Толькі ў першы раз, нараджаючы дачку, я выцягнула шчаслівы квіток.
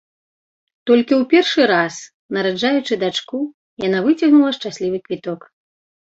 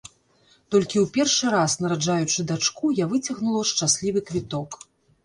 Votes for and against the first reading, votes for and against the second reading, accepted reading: 0, 2, 2, 0, second